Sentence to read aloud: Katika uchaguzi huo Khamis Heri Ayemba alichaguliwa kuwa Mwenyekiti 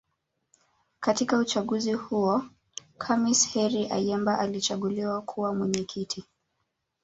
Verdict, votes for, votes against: accepted, 2, 0